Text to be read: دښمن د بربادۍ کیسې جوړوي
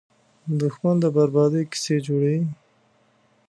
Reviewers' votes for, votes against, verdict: 2, 0, accepted